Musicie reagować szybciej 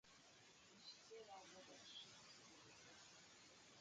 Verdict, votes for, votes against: rejected, 1, 2